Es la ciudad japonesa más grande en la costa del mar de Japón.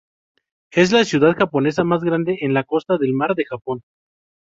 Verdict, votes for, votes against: accepted, 2, 0